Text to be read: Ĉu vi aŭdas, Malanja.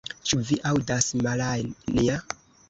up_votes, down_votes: 1, 2